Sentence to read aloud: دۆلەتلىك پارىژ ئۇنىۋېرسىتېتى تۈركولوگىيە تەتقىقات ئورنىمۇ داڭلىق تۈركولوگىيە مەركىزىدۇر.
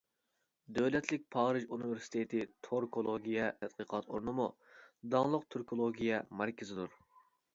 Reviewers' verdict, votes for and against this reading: rejected, 0, 2